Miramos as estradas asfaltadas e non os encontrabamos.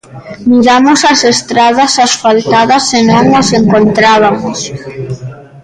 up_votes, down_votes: 0, 2